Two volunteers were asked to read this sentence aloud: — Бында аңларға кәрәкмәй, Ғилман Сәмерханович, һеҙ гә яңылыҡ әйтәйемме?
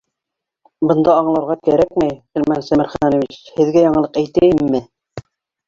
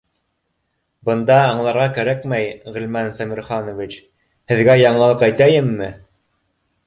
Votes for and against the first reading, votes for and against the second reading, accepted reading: 1, 2, 2, 0, second